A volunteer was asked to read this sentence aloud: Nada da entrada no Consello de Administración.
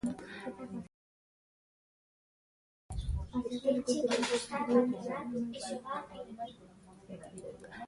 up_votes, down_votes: 0, 2